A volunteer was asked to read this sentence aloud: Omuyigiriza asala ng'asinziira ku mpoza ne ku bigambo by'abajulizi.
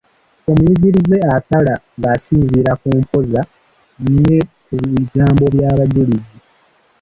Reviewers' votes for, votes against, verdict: 0, 4, rejected